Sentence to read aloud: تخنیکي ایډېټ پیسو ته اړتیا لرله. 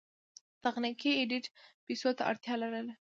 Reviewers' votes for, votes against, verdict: 2, 0, accepted